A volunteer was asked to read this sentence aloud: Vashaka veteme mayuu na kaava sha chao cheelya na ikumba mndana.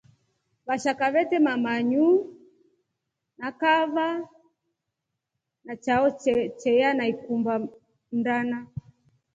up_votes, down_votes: 2, 0